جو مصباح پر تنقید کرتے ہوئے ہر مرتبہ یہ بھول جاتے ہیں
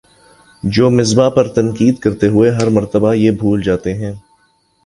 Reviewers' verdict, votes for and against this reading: accepted, 2, 0